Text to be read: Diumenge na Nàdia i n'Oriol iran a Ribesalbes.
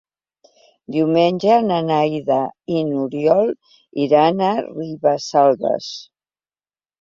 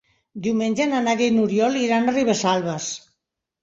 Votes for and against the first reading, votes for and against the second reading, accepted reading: 0, 2, 3, 0, second